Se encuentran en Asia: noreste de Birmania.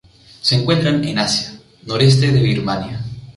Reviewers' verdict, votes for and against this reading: accepted, 2, 0